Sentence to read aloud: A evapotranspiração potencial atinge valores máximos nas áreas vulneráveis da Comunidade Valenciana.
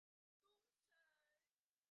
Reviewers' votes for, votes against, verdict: 0, 2, rejected